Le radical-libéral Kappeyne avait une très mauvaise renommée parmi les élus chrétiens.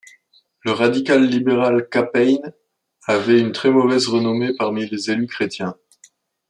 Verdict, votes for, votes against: rejected, 0, 2